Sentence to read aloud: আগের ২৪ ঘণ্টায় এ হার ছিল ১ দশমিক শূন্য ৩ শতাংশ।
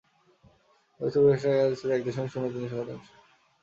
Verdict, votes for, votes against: rejected, 0, 2